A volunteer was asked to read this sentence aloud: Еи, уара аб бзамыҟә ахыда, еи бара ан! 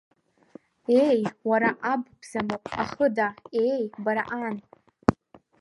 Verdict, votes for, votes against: rejected, 1, 2